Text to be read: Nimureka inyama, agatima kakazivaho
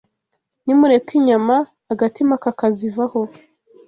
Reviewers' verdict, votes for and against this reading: accepted, 3, 0